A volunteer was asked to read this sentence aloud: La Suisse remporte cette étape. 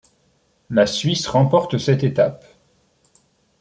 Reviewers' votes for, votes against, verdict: 2, 0, accepted